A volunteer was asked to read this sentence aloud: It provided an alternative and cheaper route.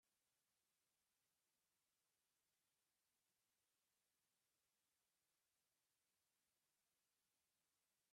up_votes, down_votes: 0, 2